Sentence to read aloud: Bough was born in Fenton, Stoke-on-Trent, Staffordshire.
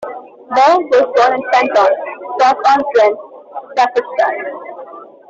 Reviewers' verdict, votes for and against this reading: rejected, 0, 2